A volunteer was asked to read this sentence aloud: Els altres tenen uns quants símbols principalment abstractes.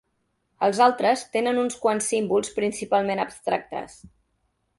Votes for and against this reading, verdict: 3, 0, accepted